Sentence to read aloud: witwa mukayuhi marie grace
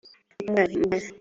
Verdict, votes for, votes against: rejected, 1, 2